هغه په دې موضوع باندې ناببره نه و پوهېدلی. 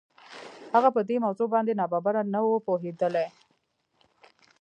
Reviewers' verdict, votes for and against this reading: accepted, 2, 1